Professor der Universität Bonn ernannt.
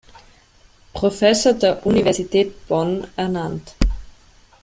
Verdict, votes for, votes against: accepted, 2, 0